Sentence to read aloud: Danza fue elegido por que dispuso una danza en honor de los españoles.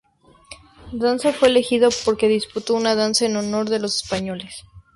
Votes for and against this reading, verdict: 0, 2, rejected